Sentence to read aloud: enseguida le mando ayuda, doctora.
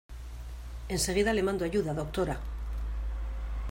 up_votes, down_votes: 2, 0